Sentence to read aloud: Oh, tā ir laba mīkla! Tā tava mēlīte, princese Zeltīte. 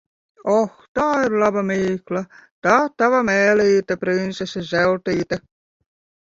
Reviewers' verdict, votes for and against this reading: rejected, 0, 2